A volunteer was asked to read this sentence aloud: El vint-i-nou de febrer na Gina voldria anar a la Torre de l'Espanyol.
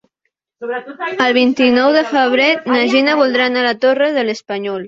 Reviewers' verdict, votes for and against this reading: rejected, 1, 2